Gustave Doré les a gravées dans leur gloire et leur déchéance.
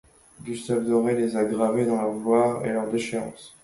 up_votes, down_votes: 2, 0